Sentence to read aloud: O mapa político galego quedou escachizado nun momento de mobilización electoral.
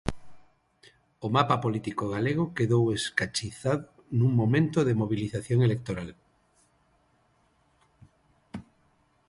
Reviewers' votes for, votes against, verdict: 0, 6, rejected